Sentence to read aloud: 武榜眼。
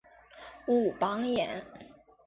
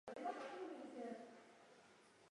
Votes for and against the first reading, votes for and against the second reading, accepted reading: 2, 0, 0, 3, first